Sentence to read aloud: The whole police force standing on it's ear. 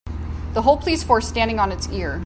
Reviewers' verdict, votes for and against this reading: accepted, 2, 0